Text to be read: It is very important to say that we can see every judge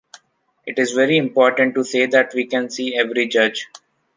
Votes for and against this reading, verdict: 2, 0, accepted